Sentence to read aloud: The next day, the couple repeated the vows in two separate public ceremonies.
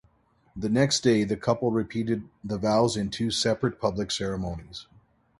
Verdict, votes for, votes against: accepted, 2, 0